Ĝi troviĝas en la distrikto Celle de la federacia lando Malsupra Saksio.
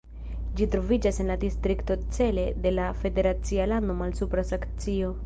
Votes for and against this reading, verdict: 1, 2, rejected